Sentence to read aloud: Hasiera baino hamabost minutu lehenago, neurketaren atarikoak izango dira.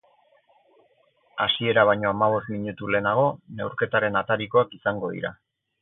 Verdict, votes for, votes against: accepted, 4, 0